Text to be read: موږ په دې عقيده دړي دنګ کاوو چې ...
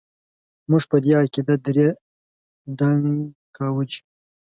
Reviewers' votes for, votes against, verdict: 2, 0, accepted